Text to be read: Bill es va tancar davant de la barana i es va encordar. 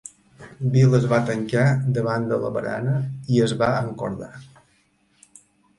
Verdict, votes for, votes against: accepted, 2, 0